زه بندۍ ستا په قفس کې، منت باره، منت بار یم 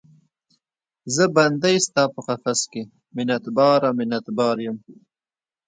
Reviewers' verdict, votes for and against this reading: rejected, 0, 2